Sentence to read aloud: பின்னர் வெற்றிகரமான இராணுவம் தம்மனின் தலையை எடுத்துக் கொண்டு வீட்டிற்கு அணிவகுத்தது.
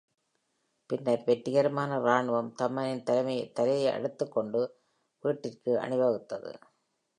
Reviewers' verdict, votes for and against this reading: rejected, 0, 2